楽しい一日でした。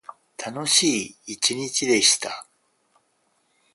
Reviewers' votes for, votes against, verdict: 4, 0, accepted